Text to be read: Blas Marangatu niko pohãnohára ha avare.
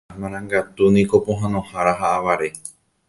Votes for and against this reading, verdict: 1, 2, rejected